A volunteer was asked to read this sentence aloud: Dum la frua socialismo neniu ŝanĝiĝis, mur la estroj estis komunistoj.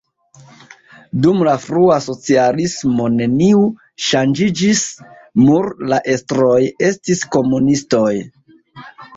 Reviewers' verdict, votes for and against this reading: rejected, 0, 2